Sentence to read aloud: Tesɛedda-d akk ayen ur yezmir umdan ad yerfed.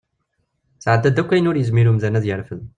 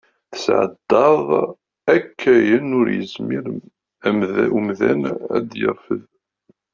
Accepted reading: first